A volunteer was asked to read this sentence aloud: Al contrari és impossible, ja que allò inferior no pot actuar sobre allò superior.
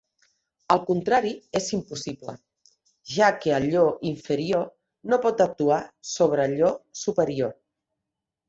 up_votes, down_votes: 3, 0